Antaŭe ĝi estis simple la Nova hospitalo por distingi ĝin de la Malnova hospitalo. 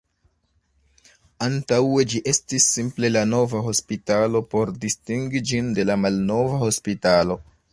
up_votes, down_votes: 1, 2